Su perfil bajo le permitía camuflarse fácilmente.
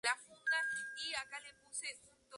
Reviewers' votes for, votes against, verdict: 0, 4, rejected